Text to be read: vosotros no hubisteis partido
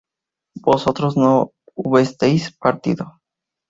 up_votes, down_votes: 2, 2